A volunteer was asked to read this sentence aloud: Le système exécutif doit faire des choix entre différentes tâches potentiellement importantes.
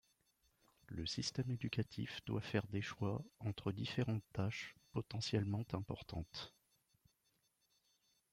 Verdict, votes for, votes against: rejected, 1, 2